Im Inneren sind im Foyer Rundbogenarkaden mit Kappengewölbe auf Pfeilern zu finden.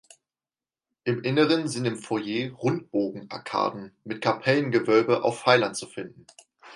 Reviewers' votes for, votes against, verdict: 2, 4, rejected